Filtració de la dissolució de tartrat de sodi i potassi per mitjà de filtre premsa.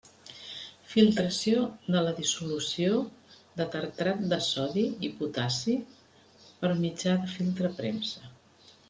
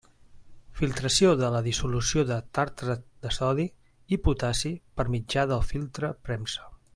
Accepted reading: second